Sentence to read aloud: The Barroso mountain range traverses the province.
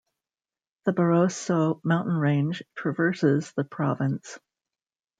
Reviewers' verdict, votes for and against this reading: accepted, 2, 0